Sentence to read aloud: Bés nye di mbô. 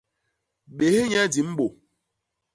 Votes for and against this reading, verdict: 2, 0, accepted